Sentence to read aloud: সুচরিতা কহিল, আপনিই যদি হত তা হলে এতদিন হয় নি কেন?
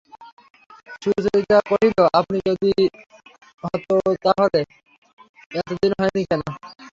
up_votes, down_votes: 0, 3